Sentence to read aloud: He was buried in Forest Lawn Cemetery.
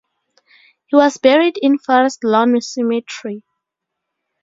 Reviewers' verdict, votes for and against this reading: rejected, 2, 2